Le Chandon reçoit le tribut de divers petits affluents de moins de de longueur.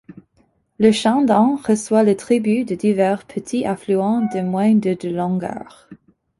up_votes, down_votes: 2, 0